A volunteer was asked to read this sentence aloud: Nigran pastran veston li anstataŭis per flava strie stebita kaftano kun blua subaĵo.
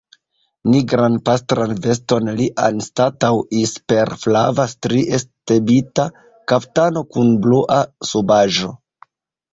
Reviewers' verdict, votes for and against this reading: rejected, 1, 2